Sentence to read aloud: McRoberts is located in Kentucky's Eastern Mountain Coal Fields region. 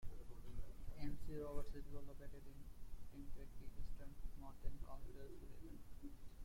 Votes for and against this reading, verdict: 0, 2, rejected